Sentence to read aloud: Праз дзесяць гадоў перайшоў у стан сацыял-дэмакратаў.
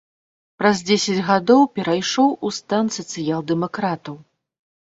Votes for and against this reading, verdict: 2, 0, accepted